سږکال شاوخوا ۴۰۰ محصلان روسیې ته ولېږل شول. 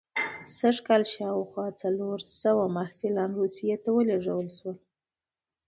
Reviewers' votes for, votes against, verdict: 0, 2, rejected